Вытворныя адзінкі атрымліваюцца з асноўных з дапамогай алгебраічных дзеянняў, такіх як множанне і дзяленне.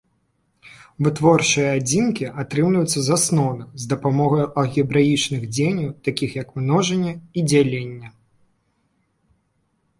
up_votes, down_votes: 0, 2